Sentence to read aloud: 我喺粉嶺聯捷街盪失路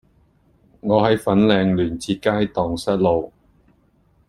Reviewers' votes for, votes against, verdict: 2, 0, accepted